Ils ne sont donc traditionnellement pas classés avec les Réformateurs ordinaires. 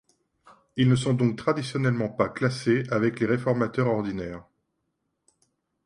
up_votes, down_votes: 1, 2